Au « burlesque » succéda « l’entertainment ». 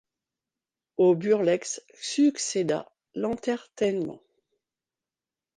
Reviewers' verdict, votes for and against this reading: rejected, 0, 3